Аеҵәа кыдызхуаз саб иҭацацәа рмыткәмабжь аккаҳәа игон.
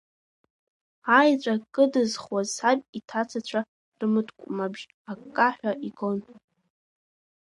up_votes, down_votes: 0, 2